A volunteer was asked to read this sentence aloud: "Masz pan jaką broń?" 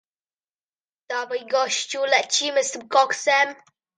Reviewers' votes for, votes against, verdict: 0, 2, rejected